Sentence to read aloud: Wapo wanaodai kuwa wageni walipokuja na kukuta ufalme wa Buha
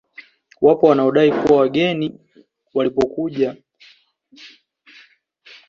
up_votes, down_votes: 1, 2